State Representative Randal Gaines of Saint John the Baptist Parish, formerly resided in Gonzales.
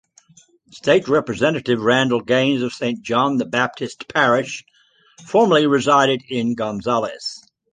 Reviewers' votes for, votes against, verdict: 3, 0, accepted